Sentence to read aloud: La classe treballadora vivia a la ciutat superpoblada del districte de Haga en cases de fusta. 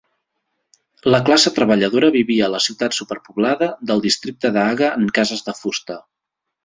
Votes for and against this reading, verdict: 2, 0, accepted